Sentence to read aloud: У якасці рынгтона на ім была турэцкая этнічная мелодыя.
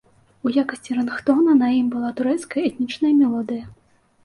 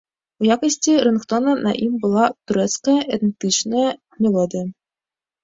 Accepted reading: first